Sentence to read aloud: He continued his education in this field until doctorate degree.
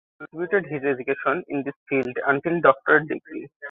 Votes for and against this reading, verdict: 1, 2, rejected